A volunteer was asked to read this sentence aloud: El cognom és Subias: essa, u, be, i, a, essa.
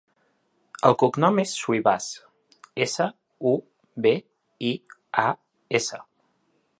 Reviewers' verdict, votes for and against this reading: rejected, 0, 2